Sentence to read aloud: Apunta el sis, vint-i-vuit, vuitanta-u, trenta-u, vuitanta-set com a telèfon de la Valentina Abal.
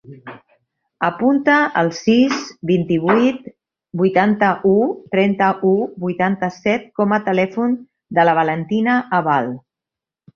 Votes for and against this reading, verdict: 0, 2, rejected